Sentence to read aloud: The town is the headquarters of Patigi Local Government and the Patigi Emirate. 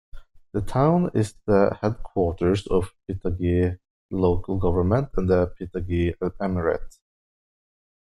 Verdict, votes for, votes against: accepted, 2, 1